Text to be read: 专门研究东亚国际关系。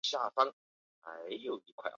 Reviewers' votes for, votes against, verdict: 0, 2, rejected